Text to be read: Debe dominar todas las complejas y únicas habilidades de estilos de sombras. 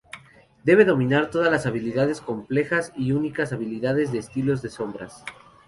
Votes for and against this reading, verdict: 0, 2, rejected